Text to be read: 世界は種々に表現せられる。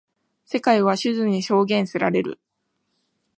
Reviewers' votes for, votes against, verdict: 1, 2, rejected